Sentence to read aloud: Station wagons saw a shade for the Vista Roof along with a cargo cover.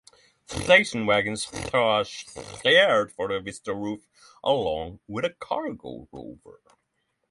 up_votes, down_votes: 0, 6